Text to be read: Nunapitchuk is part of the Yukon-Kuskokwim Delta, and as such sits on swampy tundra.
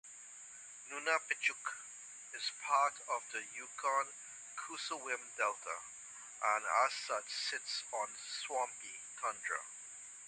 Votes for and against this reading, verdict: 1, 2, rejected